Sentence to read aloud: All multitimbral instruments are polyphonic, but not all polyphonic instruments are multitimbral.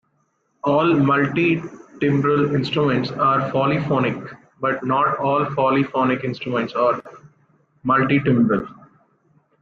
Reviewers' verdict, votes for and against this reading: rejected, 0, 2